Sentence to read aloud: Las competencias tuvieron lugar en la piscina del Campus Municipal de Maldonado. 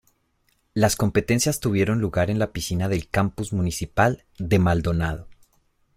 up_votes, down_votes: 2, 1